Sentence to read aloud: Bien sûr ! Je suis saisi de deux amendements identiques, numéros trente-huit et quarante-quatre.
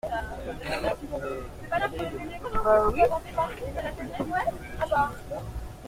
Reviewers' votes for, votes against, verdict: 0, 2, rejected